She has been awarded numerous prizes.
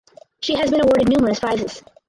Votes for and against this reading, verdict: 0, 4, rejected